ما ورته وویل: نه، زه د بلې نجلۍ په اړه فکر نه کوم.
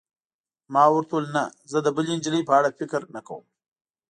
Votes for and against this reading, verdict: 2, 0, accepted